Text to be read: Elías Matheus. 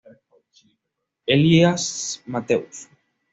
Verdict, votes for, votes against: accepted, 2, 0